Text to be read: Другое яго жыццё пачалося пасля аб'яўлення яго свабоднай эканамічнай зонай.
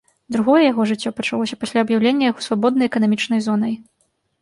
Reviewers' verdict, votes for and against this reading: accepted, 2, 0